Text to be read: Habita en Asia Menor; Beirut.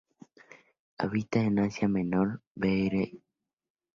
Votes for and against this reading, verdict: 0, 2, rejected